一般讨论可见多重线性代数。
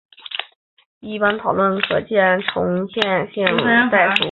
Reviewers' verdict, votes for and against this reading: rejected, 0, 3